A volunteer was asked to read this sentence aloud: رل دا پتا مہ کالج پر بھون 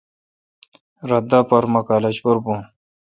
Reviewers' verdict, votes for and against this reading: accepted, 2, 0